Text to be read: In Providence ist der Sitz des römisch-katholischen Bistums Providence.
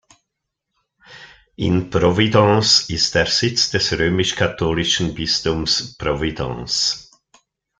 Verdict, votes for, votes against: accepted, 2, 0